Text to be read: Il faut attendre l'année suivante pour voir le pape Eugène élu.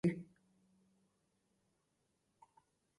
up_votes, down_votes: 0, 2